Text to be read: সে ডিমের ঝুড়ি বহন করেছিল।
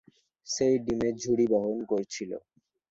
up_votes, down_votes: 0, 2